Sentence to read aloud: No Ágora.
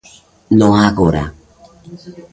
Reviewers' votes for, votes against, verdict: 2, 0, accepted